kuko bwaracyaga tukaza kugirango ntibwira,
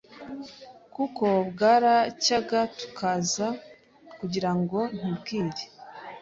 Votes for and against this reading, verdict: 0, 2, rejected